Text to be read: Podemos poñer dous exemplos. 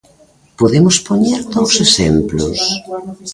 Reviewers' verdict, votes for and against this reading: accepted, 2, 0